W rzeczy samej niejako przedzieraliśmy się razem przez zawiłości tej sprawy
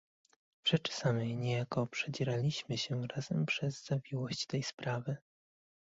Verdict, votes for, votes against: rejected, 1, 2